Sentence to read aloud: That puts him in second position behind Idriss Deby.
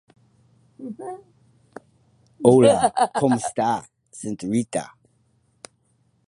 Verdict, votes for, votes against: rejected, 0, 2